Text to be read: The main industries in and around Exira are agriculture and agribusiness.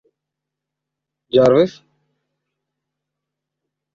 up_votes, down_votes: 0, 2